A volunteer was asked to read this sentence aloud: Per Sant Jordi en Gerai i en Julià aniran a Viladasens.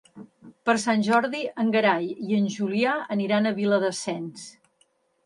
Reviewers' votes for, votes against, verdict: 2, 0, accepted